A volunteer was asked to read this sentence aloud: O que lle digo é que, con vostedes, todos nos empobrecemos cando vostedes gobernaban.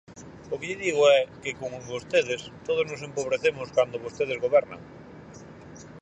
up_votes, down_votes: 0, 4